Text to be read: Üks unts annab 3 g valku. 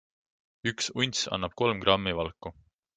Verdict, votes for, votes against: rejected, 0, 2